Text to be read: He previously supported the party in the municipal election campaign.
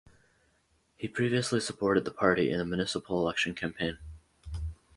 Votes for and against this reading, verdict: 4, 2, accepted